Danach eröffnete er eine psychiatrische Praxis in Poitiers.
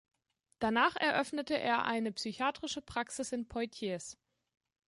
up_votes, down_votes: 0, 2